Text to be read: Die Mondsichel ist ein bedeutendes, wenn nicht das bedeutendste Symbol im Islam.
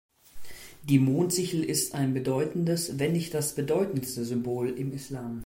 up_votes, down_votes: 2, 0